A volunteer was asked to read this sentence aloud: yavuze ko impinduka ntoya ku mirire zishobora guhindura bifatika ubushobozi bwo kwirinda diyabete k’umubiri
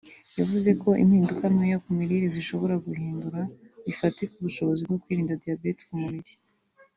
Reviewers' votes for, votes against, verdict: 2, 0, accepted